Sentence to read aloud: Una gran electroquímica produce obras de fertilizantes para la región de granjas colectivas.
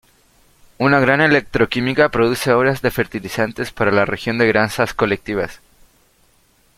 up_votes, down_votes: 0, 2